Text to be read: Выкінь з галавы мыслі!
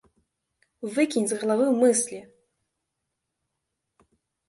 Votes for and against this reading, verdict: 2, 1, accepted